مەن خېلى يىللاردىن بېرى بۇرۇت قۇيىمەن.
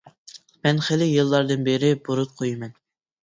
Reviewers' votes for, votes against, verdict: 2, 0, accepted